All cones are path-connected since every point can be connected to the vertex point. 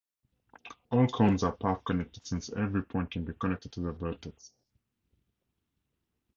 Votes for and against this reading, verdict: 0, 2, rejected